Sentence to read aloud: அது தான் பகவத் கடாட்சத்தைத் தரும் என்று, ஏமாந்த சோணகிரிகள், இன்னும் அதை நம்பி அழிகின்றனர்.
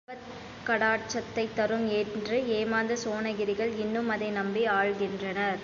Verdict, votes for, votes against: rejected, 0, 2